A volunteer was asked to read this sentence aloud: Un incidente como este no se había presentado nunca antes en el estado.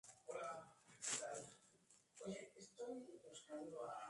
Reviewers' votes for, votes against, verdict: 0, 2, rejected